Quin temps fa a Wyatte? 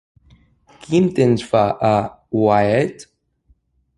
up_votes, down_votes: 0, 2